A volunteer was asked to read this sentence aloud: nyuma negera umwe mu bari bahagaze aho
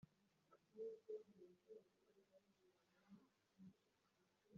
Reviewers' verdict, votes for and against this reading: rejected, 0, 2